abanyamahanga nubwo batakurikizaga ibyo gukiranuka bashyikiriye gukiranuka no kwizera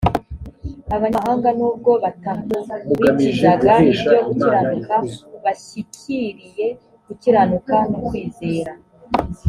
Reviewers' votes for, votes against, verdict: 2, 0, accepted